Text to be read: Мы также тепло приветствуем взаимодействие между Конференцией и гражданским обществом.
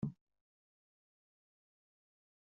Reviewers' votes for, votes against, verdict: 0, 2, rejected